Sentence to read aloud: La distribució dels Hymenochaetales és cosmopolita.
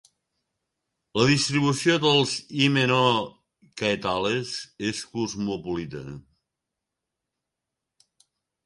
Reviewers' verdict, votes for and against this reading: rejected, 1, 2